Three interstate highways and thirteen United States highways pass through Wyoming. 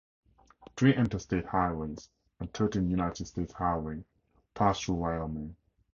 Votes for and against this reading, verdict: 0, 2, rejected